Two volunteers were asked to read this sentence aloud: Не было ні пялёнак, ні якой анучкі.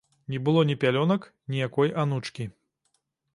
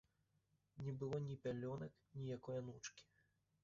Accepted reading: first